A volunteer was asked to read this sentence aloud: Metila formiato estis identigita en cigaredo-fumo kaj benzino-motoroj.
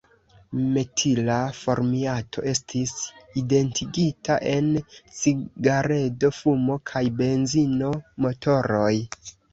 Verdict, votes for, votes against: accepted, 2, 1